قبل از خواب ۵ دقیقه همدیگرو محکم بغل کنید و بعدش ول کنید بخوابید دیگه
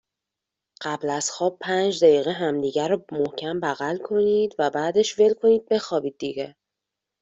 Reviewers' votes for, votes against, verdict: 0, 2, rejected